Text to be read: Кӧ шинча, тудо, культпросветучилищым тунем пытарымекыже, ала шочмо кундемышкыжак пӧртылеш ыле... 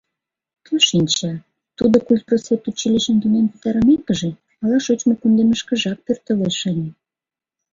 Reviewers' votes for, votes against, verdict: 2, 0, accepted